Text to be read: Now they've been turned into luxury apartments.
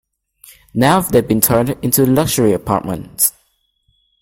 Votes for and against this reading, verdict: 2, 0, accepted